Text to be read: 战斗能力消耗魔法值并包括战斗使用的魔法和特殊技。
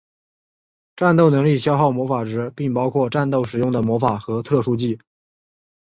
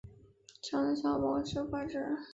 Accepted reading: first